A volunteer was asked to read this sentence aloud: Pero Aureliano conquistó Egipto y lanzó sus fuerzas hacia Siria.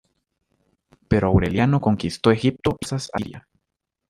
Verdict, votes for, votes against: rejected, 1, 2